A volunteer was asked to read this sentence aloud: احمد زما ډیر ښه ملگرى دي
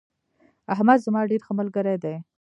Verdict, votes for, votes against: rejected, 1, 2